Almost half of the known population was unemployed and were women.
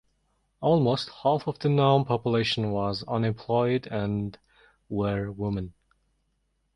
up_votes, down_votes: 1, 2